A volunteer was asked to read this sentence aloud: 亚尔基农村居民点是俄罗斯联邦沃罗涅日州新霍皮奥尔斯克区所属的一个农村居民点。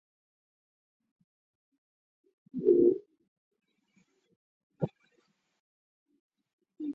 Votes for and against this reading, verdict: 0, 2, rejected